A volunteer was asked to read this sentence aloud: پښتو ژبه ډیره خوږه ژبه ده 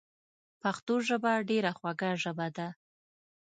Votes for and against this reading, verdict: 2, 0, accepted